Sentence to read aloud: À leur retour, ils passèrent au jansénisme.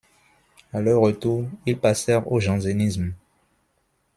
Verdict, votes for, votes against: accepted, 2, 0